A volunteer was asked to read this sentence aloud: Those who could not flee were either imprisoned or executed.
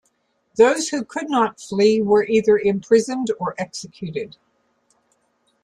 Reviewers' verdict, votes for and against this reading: accepted, 2, 1